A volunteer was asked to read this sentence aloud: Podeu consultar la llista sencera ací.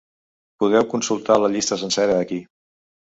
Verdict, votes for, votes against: rejected, 0, 2